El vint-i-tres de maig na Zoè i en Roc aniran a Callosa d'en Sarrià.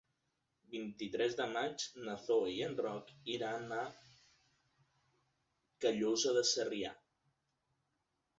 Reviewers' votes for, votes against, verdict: 0, 2, rejected